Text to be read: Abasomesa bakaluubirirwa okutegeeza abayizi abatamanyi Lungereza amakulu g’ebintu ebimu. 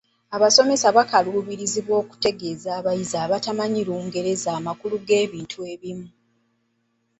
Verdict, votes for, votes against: rejected, 0, 2